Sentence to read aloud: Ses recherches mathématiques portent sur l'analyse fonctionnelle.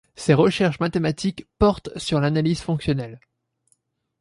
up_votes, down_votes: 2, 0